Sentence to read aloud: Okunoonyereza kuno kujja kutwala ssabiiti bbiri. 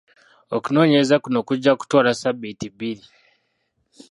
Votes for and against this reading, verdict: 2, 0, accepted